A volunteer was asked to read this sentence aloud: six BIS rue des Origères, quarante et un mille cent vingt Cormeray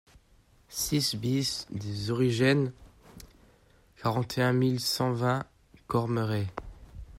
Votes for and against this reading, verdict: 0, 2, rejected